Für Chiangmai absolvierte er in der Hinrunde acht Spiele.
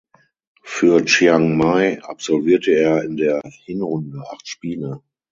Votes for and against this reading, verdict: 6, 0, accepted